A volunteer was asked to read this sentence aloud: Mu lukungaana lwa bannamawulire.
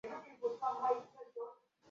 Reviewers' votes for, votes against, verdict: 0, 2, rejected